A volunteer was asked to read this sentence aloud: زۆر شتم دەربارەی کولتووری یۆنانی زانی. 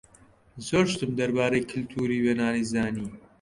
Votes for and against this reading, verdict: 2, 0, accepted